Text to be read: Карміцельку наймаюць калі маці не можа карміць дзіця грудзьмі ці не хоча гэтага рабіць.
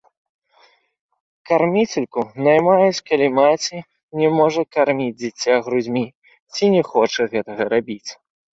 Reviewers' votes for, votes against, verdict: 3, 0, accepted